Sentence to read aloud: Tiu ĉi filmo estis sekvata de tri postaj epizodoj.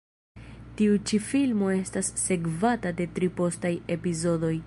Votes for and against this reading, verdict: 2, 3, rejected